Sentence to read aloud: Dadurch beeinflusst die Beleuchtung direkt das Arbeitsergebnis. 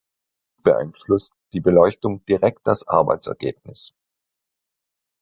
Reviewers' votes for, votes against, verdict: 1, 4, rejected